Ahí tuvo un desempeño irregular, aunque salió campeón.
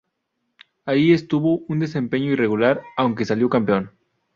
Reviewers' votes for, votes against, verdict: 0, 2, rejected